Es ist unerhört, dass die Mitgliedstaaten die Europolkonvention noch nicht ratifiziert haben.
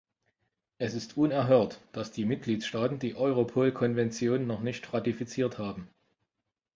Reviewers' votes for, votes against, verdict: 2, 1, accepted